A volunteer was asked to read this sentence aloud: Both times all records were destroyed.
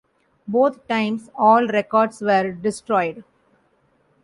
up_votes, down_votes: 2, 0